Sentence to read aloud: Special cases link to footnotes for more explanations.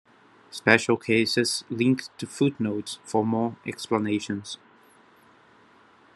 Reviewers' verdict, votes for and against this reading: accepted, 2, 0